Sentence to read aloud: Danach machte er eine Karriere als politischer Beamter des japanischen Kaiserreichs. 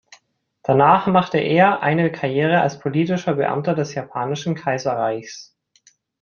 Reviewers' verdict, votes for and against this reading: accepted, 2, 0